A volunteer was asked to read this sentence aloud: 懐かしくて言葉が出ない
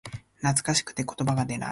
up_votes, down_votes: 2, 0